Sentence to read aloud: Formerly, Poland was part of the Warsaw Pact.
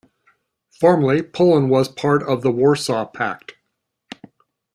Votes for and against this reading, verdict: 2, 0, accepted